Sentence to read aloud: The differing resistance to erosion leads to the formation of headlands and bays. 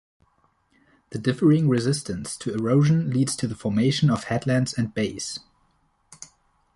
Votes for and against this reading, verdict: 2, 0, accepted